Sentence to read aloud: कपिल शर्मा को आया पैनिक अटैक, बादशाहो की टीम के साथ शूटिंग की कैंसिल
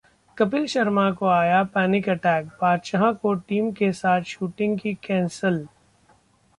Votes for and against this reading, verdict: 0, 2, rejected